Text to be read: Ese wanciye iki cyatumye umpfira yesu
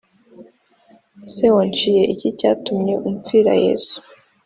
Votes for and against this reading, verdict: 3, 0, accepted